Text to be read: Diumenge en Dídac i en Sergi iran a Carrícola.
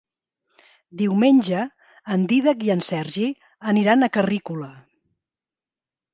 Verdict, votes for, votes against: rejected, 0, 2